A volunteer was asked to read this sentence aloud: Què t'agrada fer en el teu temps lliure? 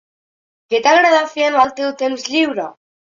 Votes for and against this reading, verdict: 2, 0, accepted